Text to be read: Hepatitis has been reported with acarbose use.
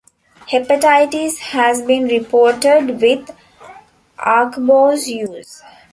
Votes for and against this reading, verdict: 0, 2, rejected